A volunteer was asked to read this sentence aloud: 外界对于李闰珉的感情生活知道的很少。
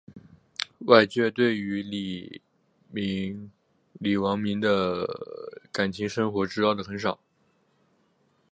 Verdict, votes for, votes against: rejected, 0, 3